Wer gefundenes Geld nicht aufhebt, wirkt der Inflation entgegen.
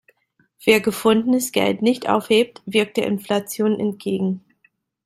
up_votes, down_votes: 2, 0